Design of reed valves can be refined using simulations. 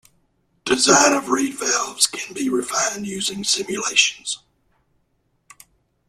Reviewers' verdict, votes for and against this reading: accepted, 2, 0